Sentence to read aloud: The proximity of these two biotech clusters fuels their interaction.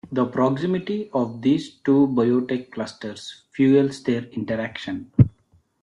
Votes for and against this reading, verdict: 2, 0, accepted